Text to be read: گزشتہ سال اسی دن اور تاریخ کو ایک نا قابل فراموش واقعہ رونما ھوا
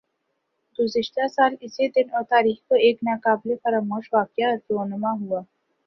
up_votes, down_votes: 2, 0